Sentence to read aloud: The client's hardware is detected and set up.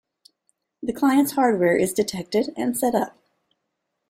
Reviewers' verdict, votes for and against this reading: accepted, 2, 0